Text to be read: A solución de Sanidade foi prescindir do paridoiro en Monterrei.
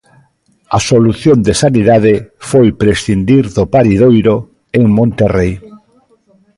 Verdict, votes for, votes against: rejected, 1, 2